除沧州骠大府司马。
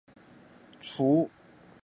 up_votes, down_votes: 0, 3